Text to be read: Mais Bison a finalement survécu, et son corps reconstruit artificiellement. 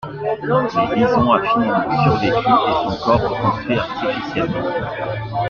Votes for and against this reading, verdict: 2, 1, accepted